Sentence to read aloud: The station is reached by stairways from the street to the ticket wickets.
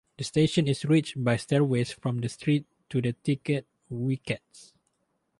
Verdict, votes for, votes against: accepted, 4, 0